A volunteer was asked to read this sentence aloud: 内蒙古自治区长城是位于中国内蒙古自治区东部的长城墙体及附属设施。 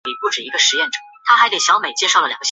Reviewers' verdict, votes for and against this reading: rejected, 1, 2